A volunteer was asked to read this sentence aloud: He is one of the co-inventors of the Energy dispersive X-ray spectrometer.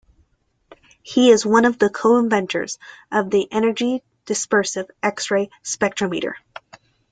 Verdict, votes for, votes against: accepted, 2, 0